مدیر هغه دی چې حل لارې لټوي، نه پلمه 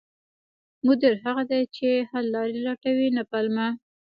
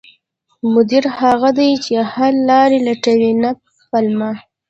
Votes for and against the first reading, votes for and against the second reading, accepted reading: 1, 2, 2, 0, second